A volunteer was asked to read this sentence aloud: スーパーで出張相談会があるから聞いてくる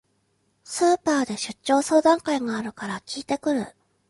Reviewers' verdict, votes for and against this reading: accepted, 2, 0